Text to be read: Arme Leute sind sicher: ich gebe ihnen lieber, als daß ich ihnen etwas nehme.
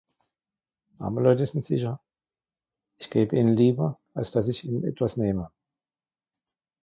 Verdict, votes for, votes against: accepted, 2, 1